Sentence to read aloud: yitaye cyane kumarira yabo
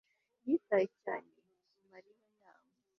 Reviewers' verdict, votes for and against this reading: rejected, 0, 2